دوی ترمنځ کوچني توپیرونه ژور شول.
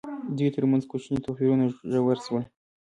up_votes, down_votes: 0, 2